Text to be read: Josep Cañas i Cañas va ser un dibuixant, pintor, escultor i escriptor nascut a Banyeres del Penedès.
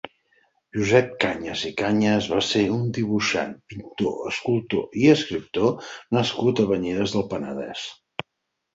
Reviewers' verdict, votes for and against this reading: accepted, 6, 0